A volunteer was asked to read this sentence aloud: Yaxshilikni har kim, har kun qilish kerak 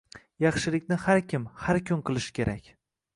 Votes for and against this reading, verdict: 2, 0, accepted